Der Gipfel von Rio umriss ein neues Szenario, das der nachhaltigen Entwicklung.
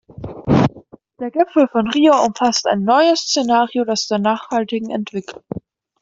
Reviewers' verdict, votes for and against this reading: rejected, 0, 2